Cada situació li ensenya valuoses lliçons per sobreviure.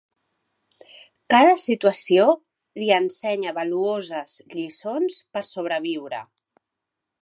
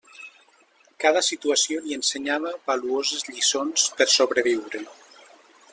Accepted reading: first